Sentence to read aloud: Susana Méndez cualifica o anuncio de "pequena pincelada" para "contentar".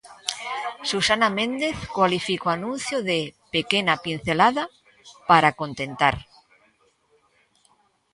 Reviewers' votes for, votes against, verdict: 2, 0, accepted